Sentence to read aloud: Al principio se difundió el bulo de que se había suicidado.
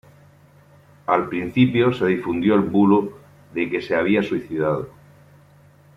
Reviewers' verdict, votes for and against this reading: accepted, 2, 0